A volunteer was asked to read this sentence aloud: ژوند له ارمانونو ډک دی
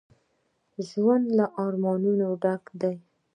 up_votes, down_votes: 1, 2